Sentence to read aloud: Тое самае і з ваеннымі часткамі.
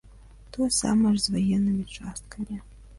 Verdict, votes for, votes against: accepted, 2, 0